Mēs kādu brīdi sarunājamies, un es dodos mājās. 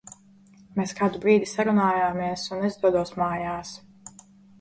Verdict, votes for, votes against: rejected, 0, 2